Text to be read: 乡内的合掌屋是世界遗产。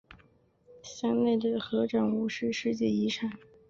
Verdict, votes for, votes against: rejected, 1, 2